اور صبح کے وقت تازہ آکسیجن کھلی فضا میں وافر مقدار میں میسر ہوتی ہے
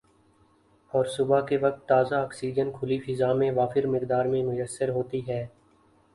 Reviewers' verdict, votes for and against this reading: rejected, 0, 2